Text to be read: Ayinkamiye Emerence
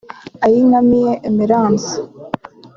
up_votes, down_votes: 2, 0